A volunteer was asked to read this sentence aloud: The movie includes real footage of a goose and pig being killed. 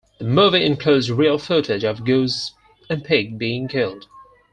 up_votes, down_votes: 4, 0